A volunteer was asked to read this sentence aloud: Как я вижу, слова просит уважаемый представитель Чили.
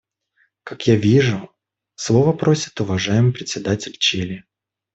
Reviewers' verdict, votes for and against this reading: rejected, 1, 2